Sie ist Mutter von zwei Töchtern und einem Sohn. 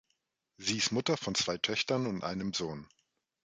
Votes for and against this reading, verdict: 3, 0, accepted